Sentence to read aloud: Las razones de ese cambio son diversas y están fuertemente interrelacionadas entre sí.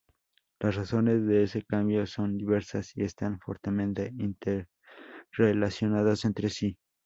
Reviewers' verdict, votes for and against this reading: rejected, 0, 6